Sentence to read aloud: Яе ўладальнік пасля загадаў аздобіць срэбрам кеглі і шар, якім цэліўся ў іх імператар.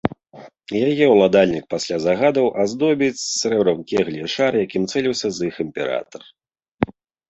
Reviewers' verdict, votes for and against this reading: rejected, 0, 2